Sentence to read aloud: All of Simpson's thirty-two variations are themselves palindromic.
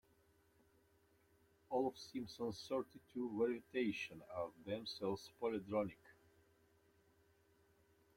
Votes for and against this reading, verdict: 1, 2, rejected